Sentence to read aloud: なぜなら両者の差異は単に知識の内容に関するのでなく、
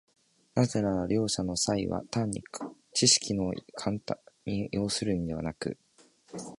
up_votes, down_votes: 0, 2